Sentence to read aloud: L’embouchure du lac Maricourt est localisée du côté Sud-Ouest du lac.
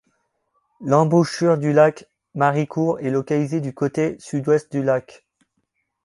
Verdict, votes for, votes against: accepted, 2, 0